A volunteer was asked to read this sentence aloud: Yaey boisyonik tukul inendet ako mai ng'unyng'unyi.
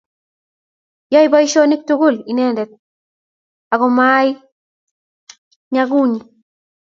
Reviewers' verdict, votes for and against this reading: rejected, 1, 2